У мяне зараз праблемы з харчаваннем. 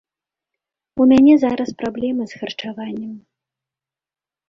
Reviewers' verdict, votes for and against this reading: accepted, 2, 0